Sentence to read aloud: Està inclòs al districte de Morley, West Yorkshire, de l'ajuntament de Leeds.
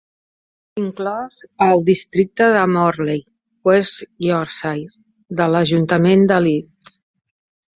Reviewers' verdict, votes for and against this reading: rejected, 0, 2